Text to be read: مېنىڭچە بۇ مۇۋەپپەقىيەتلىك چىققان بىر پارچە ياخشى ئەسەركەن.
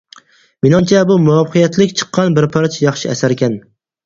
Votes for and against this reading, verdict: 4, 0, accepted